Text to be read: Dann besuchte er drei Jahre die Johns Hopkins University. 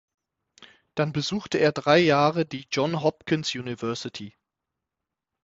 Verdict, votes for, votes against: rejected, 0, 6